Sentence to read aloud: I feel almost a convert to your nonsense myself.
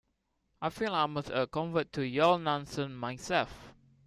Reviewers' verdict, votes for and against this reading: accepted, 2, 0